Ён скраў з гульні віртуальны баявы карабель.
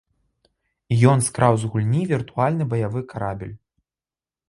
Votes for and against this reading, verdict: 0, 2, rejected